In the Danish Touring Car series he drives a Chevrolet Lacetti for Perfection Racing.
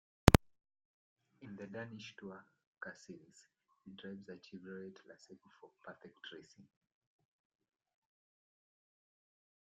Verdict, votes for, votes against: rejected, 0, 2